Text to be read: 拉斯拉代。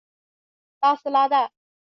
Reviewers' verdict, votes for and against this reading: accepted, 2, 0